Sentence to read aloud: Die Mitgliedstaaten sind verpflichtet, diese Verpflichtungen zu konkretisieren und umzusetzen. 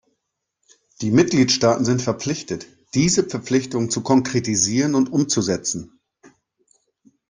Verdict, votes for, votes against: accepted, 2, 0